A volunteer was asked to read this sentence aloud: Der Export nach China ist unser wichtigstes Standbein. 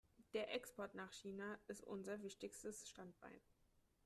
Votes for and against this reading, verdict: 3, 1, accepted